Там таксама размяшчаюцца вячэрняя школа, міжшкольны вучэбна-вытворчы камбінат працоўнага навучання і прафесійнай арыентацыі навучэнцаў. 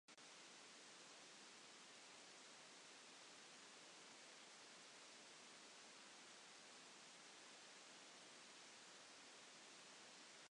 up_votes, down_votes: 0, 2